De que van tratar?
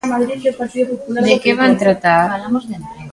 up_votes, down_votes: 1, 2